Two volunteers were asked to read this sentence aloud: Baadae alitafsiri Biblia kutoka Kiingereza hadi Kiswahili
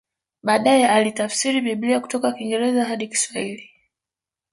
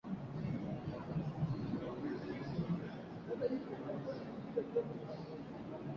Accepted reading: first